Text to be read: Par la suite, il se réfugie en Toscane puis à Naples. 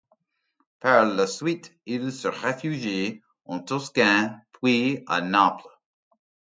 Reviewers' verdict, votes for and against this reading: accepted, 2, 0